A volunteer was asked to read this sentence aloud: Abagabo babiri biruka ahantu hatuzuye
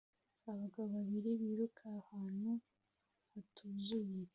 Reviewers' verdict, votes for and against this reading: rejected, 0, 2